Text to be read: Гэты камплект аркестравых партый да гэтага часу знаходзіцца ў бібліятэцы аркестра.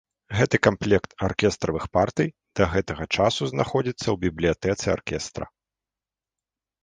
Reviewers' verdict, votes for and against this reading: accepted, 2, 0